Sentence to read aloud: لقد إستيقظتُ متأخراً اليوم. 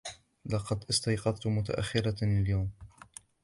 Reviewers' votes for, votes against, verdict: 1, 2, rejected